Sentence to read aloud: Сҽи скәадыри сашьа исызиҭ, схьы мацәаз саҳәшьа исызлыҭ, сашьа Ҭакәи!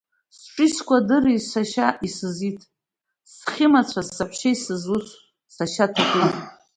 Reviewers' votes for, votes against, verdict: 1, 2, rejected